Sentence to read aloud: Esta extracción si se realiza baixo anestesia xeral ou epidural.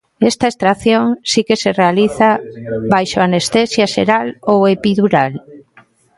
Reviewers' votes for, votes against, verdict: 0, 2, rejected